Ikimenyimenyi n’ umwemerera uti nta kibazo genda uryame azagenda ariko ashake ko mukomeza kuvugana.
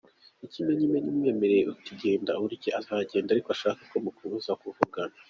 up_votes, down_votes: 0, 2